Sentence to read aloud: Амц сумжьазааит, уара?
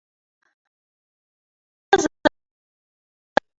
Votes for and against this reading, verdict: 0, 2, rejected